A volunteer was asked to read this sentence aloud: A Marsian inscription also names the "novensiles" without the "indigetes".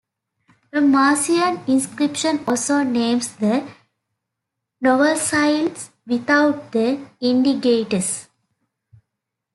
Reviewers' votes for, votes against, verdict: 0, 2, rejected